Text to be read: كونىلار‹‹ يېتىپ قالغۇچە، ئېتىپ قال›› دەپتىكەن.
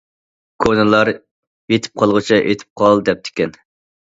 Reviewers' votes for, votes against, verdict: 2, 0, accepted